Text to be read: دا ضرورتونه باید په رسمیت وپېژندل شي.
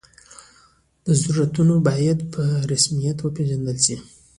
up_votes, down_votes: 2, 0